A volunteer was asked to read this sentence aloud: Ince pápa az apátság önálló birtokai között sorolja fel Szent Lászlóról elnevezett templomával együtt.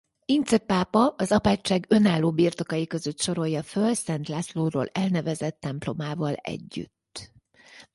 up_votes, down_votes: 0, 4